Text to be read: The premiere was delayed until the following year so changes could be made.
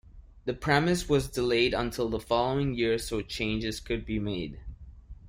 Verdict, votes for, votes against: rejected, 1, 2